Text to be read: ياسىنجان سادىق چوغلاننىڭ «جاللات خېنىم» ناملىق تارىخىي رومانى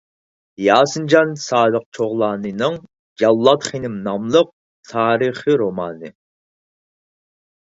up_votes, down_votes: 2, 4